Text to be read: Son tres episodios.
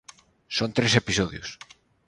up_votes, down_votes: 0, 2